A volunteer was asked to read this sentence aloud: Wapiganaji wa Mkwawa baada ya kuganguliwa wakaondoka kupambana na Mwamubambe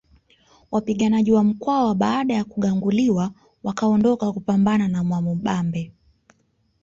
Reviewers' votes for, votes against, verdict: 2, 0, accepted